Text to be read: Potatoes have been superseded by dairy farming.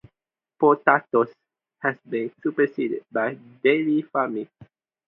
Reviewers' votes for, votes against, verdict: 0, 2, rejected